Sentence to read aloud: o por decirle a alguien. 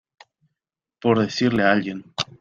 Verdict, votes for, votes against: rejected, 0, 2